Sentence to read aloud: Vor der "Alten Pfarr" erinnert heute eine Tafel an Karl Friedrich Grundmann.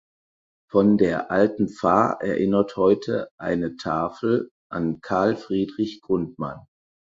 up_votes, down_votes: 0, 4